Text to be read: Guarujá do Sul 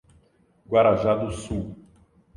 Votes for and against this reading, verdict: 0, 2, rejected